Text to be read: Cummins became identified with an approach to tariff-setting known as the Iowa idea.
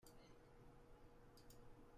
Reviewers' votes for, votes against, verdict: 0, 2, rejected